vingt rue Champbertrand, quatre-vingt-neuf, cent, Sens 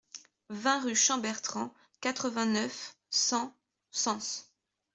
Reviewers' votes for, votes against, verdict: 2, 0, accepted